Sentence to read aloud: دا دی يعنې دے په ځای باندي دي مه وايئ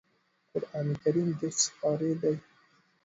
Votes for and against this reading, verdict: 1, 2, rejected